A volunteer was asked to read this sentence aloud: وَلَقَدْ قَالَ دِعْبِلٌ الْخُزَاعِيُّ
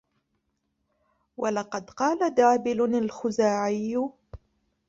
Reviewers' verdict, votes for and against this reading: rejected, 1, 2